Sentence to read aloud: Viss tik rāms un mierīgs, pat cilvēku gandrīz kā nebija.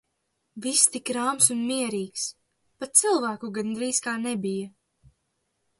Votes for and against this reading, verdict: 2, 0, accepted